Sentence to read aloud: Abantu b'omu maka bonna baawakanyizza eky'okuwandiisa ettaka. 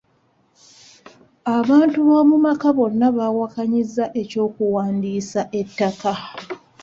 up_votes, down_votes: 2, 0